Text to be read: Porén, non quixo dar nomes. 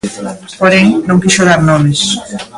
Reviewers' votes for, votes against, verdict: 0, 2, rejected